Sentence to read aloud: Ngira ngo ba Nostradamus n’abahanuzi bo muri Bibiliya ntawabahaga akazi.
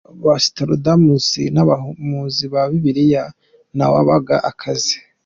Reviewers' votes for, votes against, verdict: 0, 2, rejected